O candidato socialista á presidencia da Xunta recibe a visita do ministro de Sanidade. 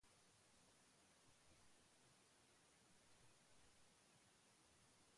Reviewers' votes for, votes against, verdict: 0, 2, rejected